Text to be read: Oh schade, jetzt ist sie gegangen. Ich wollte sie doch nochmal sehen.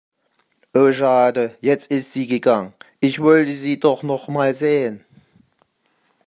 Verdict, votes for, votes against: rejected, 1, 2